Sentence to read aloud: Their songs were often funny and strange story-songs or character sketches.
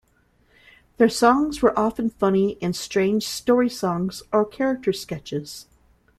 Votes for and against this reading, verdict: 2, 0, accepted